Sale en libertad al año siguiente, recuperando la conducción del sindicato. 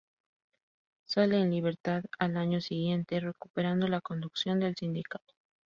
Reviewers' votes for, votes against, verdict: 2, 0, accepted